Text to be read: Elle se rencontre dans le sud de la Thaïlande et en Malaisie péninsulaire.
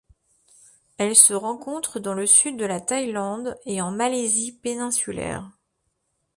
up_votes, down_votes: 2, 0